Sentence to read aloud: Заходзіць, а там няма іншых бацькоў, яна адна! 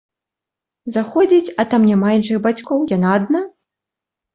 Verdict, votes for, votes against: accepted, 3, 0